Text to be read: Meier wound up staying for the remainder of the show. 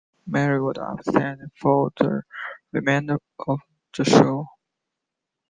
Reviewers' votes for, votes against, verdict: 0, 2, rejected